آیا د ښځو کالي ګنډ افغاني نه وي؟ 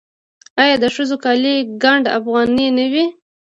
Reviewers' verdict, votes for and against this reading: rejected, 1, 2